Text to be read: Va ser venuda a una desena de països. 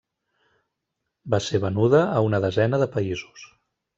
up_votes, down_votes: 3, 0